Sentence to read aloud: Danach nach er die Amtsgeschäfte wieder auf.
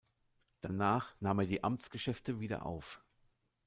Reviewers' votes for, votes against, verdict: 0, 2, rejected